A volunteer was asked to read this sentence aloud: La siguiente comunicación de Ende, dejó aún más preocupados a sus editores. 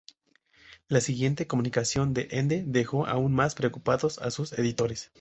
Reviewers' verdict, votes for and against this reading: rejected, 0, 2